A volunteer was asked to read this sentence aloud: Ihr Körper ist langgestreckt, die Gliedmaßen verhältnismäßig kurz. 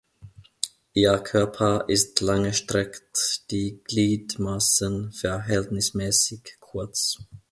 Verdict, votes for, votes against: rejected, 1, 2